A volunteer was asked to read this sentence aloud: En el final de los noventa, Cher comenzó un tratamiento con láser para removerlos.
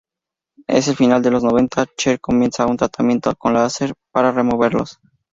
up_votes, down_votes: 2, 0